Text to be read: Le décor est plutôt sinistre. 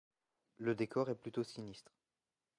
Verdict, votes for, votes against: accepted, 2, 0